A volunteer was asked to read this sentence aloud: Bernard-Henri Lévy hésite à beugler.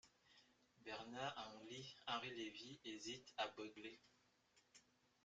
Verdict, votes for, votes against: rejected, 1, 2